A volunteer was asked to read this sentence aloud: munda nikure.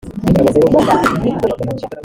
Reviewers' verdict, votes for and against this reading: rejected, 0, 3